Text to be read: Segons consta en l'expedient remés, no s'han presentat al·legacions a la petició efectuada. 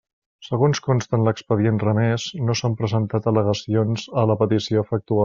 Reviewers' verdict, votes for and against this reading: rejected, 0, 2